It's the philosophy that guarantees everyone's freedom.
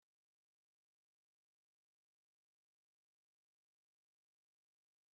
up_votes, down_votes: 0, 2